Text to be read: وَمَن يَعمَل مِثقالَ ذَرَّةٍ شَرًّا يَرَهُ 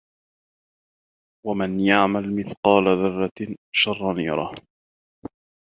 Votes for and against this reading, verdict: 2, 0, accepted